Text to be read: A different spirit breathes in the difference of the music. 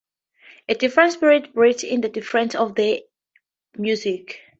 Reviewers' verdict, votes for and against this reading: accepted, 4, 0